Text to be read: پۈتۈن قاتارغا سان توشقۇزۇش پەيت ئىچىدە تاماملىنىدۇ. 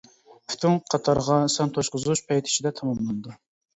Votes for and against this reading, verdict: 2, 0, accepted